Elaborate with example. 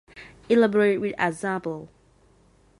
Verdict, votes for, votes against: rejected, 0, 2